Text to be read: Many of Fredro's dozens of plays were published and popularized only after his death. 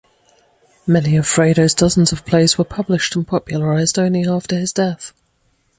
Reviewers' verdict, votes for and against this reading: rejected, 0, 2